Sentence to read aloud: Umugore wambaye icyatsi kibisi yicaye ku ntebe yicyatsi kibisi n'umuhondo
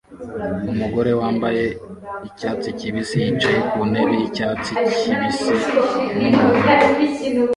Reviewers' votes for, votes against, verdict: 1, 2, rejected